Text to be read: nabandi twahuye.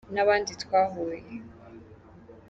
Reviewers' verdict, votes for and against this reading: accepted, 3, 0